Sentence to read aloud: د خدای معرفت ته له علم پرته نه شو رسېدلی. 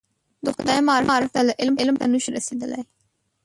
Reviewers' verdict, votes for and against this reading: rejected, 0, 2